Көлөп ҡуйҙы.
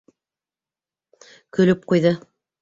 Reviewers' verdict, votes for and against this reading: accepted, 3, 0